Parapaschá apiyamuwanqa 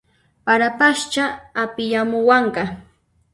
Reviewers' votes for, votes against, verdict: 0, 2, rejected